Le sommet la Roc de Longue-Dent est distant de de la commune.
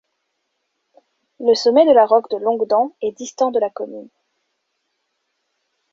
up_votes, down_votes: 0, 2